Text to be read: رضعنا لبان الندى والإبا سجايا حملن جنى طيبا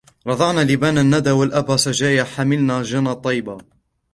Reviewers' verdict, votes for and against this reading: accepted, 2, 1